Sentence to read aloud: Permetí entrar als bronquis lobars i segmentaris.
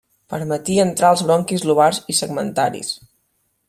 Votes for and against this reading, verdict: 2, 0, accepted